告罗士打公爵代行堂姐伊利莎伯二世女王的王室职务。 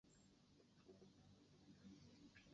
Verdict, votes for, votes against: rejected, 2, 6